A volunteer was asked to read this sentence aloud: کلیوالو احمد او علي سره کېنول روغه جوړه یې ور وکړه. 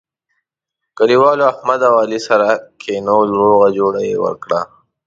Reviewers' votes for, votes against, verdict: 1, 2, rejected